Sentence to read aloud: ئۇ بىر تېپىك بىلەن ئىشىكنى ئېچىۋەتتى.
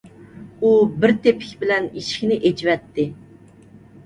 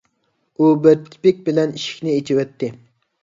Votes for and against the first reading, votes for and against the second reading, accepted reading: 2, 0, 0, 2, first